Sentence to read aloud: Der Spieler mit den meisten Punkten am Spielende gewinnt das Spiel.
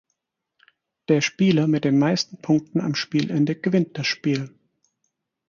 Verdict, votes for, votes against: accepted, 4, 0